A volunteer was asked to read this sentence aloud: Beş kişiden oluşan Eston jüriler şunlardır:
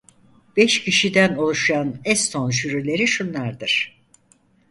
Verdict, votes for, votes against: rejected, 0, 4